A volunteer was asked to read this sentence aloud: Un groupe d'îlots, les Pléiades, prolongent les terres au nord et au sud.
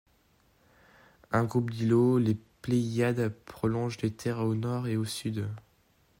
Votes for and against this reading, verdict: 2, 0, accepted